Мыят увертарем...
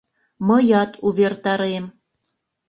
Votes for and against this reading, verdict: 2, 0, accepted